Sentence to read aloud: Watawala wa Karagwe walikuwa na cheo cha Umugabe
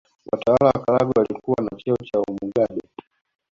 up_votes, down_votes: 1, 2